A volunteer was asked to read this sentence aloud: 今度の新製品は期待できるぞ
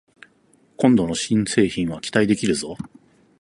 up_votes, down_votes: 4, 0